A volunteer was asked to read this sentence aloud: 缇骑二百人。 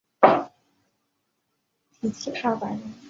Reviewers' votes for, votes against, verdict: 1, 2, rejected